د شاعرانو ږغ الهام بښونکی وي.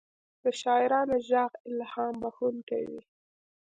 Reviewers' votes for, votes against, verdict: 2, 1, accepted